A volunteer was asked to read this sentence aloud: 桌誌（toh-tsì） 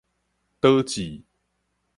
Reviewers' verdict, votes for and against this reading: rejected, 2, 2